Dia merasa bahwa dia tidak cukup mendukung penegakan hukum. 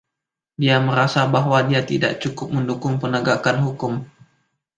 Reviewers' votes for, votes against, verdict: 2, 0, accepted